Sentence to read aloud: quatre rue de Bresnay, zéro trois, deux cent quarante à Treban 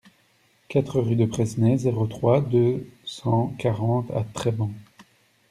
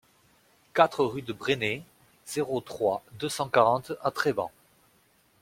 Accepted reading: second